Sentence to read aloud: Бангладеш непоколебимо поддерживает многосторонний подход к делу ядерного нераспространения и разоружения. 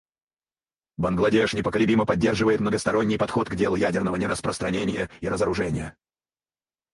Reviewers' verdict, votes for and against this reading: rejected, 2, 4